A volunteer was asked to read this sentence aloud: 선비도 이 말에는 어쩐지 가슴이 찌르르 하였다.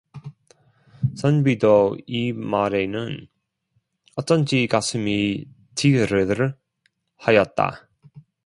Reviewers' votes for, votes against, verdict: 1, 2, rejected